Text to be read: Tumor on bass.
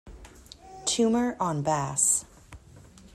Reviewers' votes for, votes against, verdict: 2, 0, accepted